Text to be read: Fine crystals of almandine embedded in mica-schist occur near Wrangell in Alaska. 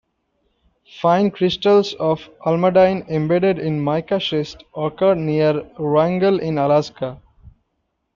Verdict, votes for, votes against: rejected, 0, 2